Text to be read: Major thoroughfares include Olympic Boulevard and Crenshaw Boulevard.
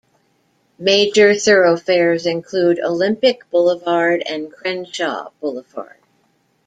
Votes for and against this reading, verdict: 2, 0, accepted